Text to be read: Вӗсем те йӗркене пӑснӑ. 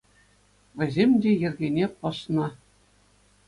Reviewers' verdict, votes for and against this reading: accepted, 2, 0